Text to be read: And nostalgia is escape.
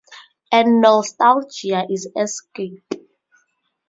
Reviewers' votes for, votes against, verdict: 2, 0, accepted